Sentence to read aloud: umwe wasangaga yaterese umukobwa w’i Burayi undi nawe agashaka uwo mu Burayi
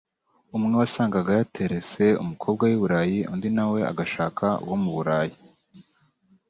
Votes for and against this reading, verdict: 2, 0, accepted